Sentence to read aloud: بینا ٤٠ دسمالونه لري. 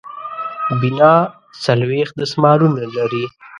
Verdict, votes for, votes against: rejected, 0, 2